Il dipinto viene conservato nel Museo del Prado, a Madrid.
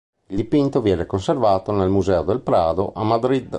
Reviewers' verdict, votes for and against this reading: accepted, 2, 0